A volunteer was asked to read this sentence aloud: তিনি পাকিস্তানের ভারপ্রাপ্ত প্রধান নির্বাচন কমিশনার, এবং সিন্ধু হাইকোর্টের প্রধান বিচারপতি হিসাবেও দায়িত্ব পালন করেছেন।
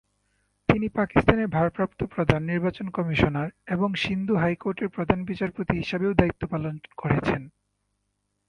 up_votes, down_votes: 0, 2